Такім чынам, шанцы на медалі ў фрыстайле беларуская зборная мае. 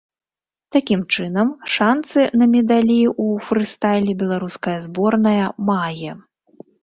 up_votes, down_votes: 1, 2